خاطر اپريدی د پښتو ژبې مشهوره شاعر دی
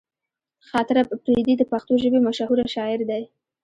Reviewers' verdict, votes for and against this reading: rejected, 0, 2